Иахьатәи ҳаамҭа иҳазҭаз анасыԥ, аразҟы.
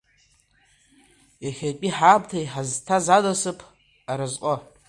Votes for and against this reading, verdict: 1, 2, rejected